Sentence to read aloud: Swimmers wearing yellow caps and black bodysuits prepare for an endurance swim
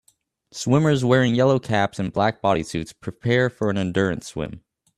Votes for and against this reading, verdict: 2, 0, accepted